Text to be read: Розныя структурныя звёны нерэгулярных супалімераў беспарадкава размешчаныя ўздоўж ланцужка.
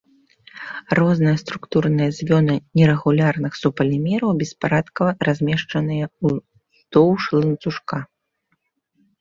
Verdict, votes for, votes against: accepted, 2, 1